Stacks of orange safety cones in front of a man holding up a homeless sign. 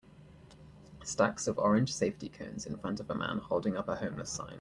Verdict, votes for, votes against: accepted, 2, 0